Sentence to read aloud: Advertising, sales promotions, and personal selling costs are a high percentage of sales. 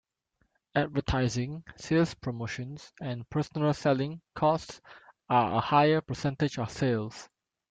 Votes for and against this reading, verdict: 1, 2, rejected